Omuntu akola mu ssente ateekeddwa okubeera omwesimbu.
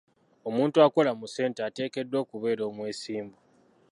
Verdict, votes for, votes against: accepted, 2, 0